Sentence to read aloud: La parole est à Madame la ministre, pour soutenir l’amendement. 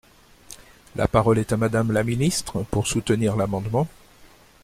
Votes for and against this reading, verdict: 2, 0, accepted